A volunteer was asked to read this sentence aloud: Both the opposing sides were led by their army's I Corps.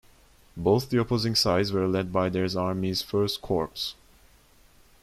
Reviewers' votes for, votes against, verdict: 0, 2, rejected